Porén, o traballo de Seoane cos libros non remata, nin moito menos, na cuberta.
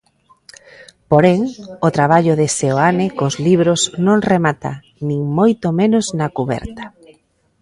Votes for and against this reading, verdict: 2, 0, accepted